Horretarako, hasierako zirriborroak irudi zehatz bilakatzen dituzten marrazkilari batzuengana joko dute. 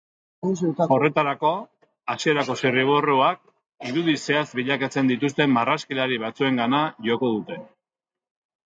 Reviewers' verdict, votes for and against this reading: rejected, 0, 2